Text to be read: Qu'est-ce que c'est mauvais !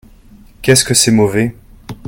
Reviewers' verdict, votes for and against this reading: accepted, 2, 0